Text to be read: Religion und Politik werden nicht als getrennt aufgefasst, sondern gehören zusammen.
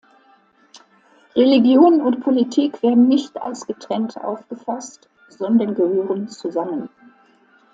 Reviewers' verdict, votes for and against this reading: accepted, 2, 0